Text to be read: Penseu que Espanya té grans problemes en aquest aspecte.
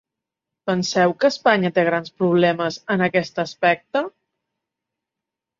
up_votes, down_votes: 2, 3